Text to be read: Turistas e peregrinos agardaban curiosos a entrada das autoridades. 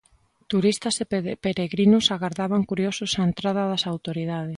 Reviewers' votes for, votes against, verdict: 0, 2, rejected